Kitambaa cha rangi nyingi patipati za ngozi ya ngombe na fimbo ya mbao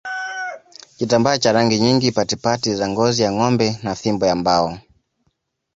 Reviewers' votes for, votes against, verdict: 2, 0, accepted